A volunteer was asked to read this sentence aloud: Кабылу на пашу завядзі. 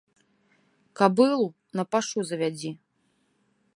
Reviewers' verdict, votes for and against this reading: rejected, 1, 2